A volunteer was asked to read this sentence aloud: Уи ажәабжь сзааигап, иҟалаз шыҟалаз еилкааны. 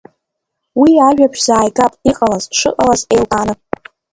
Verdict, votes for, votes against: rejected, 1, 2